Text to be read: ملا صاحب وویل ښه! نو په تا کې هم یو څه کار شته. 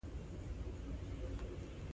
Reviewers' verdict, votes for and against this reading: rejected, 0, 2